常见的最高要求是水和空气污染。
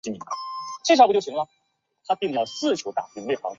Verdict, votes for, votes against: accepted, 2, 0